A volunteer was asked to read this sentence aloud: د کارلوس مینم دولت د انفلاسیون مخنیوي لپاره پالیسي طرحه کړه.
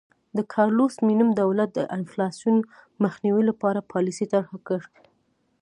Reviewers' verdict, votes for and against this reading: accepted, 2, 0